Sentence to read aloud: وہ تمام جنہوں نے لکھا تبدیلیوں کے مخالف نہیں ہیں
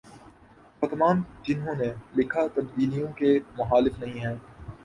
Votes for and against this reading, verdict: 12, 2, accepted